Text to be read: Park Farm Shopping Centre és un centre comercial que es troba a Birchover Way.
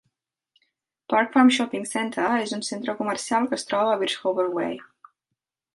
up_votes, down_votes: 6, 0